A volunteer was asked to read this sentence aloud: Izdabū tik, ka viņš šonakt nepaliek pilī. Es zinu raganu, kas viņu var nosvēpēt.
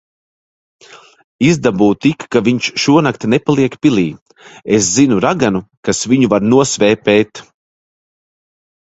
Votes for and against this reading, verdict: 1, 2, rejected